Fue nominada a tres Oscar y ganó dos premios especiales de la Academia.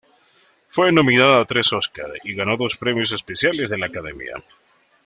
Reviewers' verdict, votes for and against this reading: accepted, 2, 0